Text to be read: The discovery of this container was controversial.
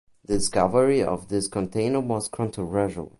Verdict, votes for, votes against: accepted, 3, 1